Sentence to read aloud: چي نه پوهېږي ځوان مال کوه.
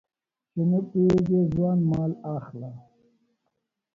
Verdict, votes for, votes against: rejected, 0, 2